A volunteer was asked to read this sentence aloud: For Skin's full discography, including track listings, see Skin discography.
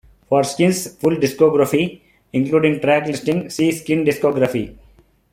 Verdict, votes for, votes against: rejected, 1, 2